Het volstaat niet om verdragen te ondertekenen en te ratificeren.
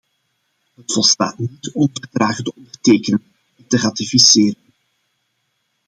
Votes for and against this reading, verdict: 0, 2, rejected